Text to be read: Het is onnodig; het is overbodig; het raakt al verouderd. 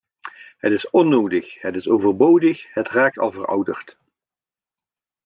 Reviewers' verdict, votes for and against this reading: accepted, 2, 0